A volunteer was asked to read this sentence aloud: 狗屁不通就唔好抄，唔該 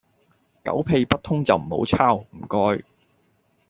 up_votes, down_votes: 2, 0